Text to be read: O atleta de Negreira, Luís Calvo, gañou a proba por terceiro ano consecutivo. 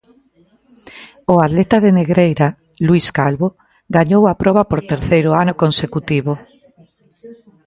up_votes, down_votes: 2, 0